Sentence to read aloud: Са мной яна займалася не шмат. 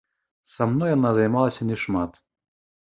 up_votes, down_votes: 1, 2